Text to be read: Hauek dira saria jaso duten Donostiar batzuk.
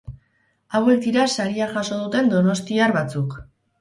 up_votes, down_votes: 6, 0